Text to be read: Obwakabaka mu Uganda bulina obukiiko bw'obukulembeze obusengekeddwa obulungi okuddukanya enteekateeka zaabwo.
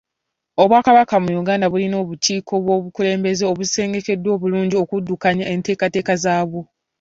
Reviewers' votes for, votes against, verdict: 2, 0, accepted